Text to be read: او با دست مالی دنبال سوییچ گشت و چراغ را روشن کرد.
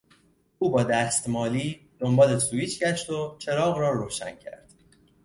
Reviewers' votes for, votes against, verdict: 2, 0, accepted